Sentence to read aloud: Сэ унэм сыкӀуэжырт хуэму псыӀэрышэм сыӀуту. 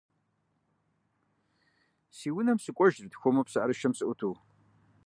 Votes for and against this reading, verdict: 1, 2, rejected